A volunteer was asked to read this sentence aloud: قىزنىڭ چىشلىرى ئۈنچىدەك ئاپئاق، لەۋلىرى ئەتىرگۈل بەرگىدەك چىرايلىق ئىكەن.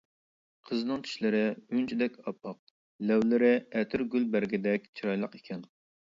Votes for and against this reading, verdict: 2, 0, accepted